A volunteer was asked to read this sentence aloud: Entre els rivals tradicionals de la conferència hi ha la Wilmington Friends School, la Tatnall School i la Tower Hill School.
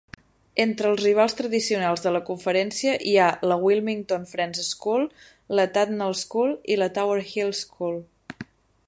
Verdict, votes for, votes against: accepted, 10, 0